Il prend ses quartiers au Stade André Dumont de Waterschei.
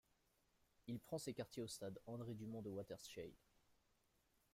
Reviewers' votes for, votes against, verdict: 1, 2, rejected